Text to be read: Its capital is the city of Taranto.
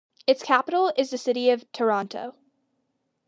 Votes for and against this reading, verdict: 2, 1, accepted